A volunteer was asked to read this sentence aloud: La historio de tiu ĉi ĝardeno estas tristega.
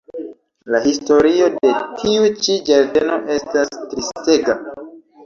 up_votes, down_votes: 1, 2